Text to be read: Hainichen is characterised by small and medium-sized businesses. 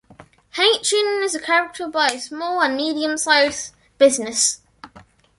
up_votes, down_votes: 1, 2